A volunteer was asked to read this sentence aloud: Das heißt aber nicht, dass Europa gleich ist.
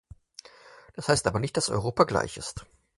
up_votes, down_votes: 4, 0